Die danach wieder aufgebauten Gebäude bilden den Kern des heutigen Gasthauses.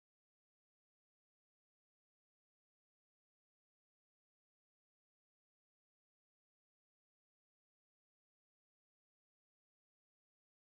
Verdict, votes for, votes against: rejected, 0, 2